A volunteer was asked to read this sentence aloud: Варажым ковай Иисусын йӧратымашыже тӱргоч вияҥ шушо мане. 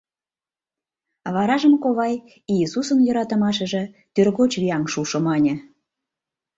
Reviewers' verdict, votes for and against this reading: rejected, 0, 2